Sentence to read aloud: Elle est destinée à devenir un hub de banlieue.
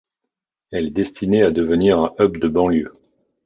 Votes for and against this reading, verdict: 1, 2, rejected